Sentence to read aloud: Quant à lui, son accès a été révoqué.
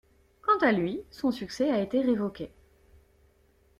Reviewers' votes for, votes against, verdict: 0, 2, rejected